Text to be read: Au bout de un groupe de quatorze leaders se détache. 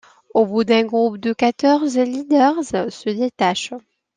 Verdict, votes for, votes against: rejected, 1, 2